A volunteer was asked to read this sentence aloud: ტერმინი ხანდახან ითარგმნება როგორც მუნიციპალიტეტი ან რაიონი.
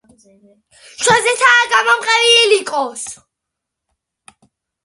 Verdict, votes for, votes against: rejected, 0, 2